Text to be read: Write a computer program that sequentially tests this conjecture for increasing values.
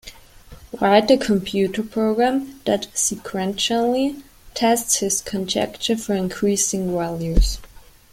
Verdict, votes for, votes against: rejected, 0, 2